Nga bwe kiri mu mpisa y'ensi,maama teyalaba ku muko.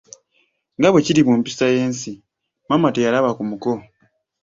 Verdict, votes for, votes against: accepted, 2, 0